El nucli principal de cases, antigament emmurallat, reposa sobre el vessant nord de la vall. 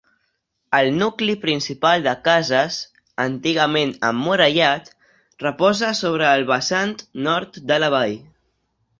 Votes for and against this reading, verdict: 2, 0, accepted